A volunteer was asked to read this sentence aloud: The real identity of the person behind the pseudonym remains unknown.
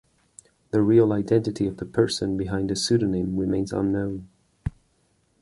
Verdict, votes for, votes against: accepted, 2, 1